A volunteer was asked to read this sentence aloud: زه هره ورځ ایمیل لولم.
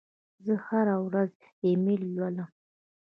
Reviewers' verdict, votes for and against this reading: accepted, 2, 0